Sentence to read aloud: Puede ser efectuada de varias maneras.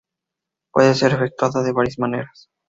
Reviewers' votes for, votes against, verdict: 4, 0, accepted